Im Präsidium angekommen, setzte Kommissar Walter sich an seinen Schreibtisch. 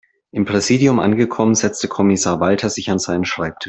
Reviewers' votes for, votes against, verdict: 1, 2, rejected